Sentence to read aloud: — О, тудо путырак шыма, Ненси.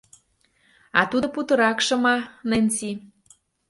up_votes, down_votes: 1, 2